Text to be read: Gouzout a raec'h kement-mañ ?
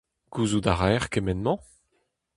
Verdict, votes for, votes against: accepted, 2, 0